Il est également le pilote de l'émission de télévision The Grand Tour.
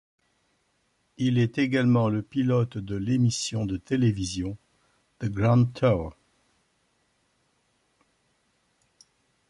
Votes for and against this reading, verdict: 2, 0, accepted